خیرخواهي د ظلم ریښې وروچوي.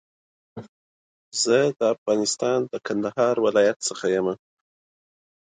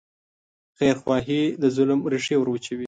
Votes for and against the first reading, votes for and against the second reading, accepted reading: 1, 3, 2, 0, second